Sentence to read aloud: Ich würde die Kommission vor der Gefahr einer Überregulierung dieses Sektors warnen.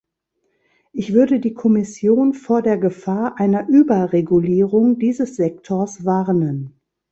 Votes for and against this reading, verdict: 3, 0, accepted